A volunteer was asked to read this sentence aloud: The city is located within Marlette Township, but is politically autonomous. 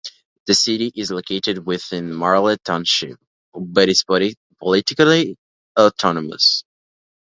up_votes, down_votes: 0, 2